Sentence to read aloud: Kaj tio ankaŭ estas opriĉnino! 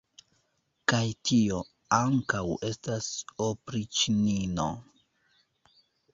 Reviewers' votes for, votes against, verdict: 2, 0, accepted